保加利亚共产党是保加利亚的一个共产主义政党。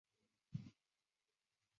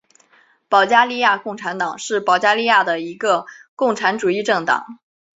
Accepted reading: second